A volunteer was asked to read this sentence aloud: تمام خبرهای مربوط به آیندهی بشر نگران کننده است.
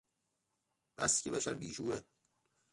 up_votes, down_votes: 0, 2